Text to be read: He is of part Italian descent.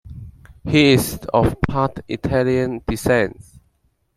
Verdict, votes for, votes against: accepted, 2, 0